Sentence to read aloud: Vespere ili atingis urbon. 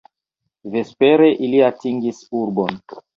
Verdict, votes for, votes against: accepted, 2, 0